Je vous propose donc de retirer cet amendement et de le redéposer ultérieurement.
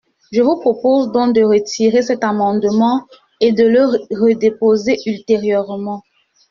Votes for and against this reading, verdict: 0, 2, rejected